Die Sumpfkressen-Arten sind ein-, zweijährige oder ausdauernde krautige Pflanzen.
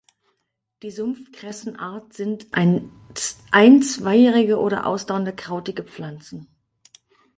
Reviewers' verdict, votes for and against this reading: rejected, 0, 4